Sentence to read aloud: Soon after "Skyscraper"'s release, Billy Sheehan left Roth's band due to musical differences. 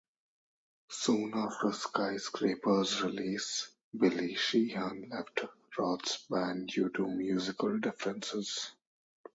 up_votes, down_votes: 2, 0